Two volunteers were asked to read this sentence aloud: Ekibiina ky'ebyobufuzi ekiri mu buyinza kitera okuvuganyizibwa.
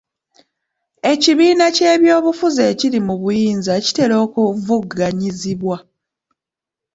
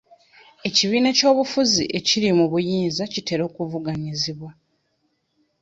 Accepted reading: first